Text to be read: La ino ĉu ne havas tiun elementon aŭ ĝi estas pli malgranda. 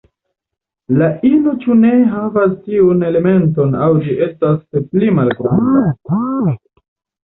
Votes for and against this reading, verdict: 0, 2, rejected